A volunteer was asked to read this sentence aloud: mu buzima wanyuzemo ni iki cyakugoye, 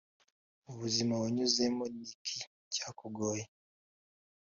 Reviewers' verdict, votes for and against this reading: accepted, 2, 0